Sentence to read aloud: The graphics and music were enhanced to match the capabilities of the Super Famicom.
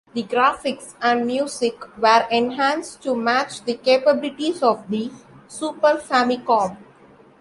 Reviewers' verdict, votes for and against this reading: accepted, 2, 0